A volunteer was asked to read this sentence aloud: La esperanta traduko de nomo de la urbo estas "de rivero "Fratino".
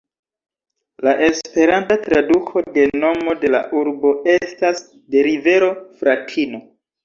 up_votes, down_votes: 2, 1